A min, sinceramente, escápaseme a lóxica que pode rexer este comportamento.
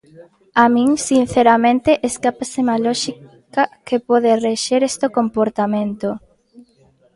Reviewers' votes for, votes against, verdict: 2, 1, accepted